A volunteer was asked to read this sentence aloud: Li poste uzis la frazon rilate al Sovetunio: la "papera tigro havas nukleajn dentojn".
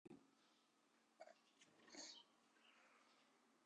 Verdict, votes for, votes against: rejected, 2, 3